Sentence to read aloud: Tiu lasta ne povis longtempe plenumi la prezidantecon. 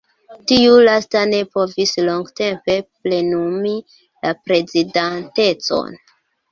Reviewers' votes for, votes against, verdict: 2, 1, accepted